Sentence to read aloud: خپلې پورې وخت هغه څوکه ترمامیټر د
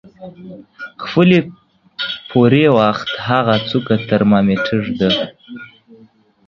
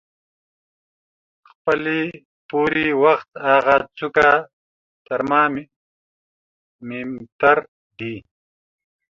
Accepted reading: first